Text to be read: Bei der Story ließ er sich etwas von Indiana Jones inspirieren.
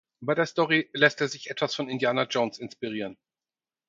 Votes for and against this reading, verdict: 0, 4, rejected